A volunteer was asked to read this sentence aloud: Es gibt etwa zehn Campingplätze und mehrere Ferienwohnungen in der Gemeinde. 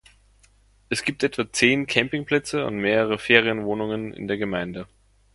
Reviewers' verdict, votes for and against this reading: accepted, 2, 0